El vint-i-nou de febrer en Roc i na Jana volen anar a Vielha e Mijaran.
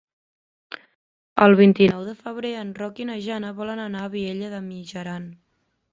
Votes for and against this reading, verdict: 1, 2, rejected